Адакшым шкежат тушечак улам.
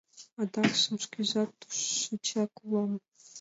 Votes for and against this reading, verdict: 2, 0, accepted